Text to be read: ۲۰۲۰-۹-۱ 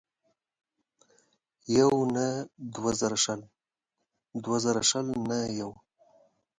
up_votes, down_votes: 0, 2